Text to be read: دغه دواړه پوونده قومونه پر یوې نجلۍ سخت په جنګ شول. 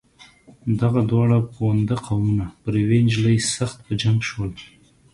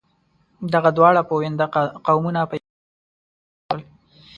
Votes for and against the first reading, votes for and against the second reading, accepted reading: 2, 0, 0, 2, first